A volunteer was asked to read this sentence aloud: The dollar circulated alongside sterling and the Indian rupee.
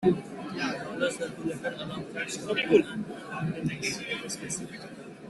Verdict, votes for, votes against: rejected, 0, 2